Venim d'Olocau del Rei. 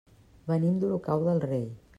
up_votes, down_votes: 2, 0